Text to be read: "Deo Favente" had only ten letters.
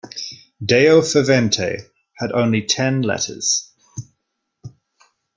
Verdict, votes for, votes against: accepted, 2, 0